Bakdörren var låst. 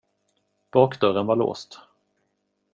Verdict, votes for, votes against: accepted, 2, 0